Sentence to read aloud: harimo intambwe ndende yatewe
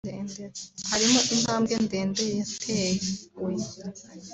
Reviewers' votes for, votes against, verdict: 0, 2, rejected